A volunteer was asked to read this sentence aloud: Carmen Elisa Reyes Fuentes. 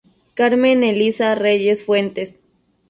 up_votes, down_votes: 2, 0